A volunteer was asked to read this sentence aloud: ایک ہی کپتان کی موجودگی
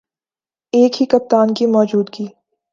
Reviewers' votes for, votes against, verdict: 2, 1, accepted